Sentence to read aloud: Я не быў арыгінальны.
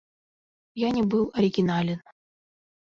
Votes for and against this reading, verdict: 0, 2, rejected